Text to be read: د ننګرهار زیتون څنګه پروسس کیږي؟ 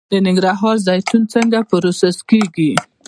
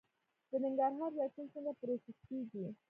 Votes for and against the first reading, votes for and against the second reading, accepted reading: 1, 2, 2, 1, second